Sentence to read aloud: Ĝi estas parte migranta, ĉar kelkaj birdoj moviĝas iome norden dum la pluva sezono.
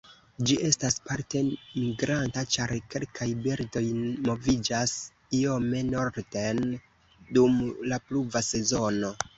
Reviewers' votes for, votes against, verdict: 2, 0, accepted